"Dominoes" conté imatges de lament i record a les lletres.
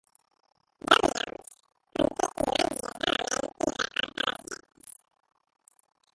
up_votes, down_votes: 0, 2